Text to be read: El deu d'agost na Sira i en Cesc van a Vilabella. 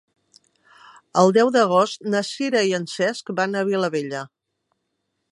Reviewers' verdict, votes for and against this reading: rejected, 1, 2